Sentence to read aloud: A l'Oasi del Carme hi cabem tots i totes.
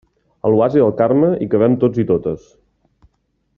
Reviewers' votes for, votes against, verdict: 2, 0, accepted